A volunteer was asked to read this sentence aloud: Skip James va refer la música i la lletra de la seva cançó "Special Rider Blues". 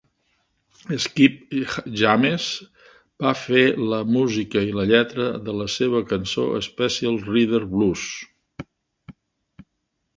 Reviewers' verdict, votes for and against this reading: rejected, 1, 2